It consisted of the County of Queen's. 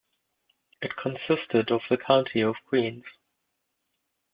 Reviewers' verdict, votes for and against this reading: accepted, 2, 0